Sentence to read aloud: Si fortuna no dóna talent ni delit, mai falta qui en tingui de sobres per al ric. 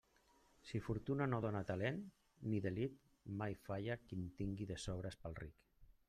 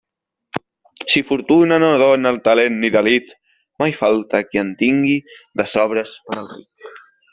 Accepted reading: second